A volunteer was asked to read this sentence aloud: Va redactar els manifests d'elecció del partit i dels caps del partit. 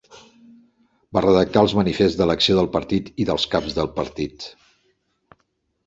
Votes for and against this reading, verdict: 2, 0, accepted